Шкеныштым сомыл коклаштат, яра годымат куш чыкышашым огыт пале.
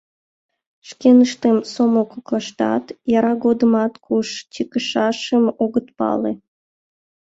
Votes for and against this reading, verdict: 2, 0, accepted